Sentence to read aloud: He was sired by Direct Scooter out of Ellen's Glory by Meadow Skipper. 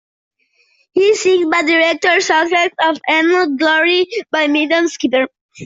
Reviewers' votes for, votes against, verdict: 0, 2, rejected